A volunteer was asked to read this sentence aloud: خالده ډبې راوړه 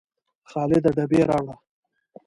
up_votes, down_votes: 2, 0